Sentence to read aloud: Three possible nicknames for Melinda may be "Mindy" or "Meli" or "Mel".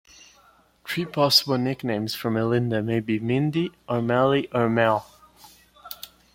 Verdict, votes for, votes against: accepted, 2, 0